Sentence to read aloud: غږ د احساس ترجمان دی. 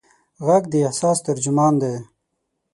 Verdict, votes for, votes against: accepted, 6, 0